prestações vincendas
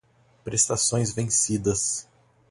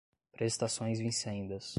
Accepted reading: second